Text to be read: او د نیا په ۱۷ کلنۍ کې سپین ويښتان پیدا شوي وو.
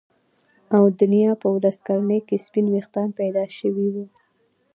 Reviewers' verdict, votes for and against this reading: rejected, 0, 2